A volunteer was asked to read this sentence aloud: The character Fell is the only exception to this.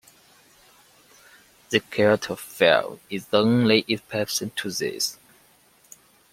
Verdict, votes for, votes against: rejected, 0, 2